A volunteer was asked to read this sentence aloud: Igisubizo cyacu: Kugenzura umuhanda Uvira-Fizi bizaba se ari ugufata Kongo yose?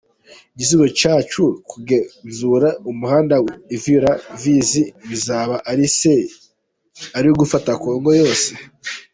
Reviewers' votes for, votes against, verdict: 0, 2, rejected